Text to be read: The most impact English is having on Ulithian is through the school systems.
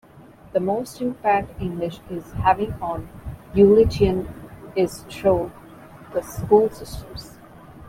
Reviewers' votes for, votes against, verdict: 2, 1, accepted